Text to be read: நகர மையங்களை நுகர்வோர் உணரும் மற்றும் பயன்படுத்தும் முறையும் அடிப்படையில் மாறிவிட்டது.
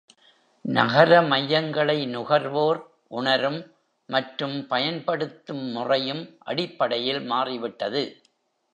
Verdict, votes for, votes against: accepted, 2, 0